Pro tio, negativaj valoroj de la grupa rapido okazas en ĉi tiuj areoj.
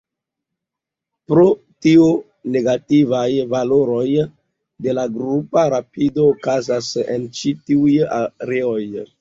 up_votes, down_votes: 1, 2